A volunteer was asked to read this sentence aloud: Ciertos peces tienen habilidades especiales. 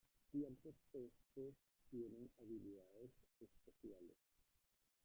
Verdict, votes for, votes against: rejected, 1, 2